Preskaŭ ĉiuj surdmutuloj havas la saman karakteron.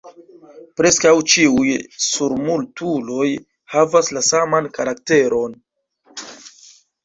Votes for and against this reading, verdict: 1, 2, rejected